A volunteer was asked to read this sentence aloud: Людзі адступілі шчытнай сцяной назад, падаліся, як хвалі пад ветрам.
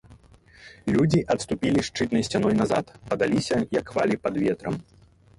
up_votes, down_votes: 0, 2